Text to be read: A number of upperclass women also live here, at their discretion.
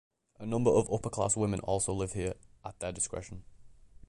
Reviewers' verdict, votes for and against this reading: accepted, 2, 0